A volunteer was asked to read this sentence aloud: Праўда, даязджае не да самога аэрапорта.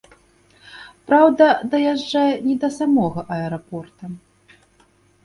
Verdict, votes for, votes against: accepted, 2, 0